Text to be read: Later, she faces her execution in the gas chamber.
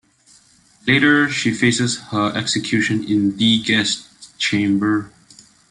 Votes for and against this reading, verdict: 0, 2, rejected